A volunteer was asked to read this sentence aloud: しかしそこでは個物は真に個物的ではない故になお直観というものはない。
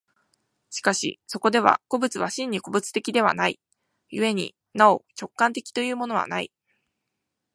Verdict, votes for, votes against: rejected, 1, 2